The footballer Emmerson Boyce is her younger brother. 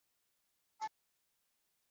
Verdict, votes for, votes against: rejected, 0, 2